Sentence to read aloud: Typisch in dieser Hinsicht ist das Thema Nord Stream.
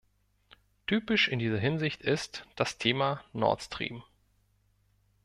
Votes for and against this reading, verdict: 2, 0, accepted